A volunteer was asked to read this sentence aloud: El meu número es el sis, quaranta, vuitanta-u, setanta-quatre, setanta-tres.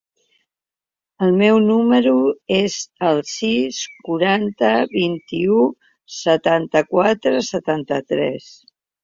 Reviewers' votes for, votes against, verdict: 1, 2, rejected